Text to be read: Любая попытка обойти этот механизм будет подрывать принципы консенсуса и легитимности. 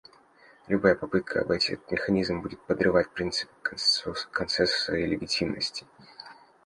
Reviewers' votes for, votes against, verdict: 0, 2, rejected